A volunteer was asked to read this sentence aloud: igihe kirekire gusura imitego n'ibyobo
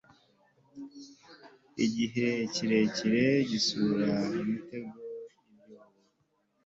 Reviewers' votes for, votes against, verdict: 0, 2, rejected